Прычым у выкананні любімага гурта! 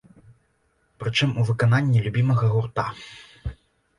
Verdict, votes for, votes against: accepted, 2, 1